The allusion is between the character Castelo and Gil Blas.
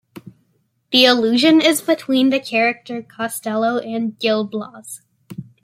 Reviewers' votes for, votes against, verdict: 2, 0, accepted